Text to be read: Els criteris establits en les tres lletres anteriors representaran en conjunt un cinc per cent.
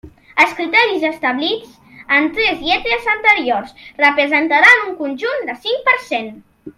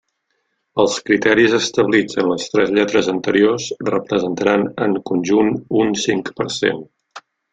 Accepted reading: second